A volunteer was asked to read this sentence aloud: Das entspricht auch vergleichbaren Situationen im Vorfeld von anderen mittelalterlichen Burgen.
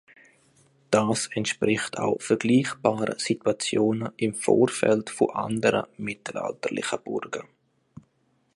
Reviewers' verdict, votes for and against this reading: accepted, 2, 1